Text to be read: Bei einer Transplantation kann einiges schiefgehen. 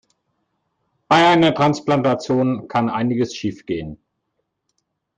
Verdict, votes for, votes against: rejected, 1, 2